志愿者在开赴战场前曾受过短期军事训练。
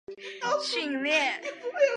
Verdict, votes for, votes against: rejected, 0, 2